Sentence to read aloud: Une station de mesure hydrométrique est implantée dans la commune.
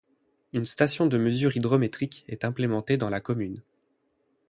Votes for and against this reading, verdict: 0, 8, rejected